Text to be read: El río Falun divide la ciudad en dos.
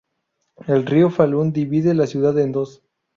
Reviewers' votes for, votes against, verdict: 2, 0, accepted